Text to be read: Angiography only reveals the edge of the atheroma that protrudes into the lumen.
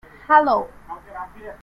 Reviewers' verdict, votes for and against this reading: rejected, 1, 2